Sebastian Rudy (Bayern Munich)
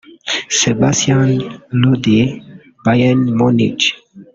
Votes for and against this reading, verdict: 0, 2, rejected